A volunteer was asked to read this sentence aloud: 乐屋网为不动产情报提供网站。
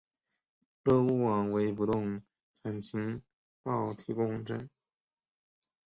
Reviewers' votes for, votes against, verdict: 3, 2, accepted